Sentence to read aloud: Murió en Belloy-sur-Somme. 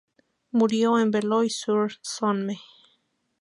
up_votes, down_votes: 2, 2